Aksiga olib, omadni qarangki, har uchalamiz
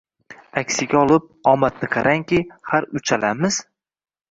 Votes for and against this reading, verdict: 1, 2, rejected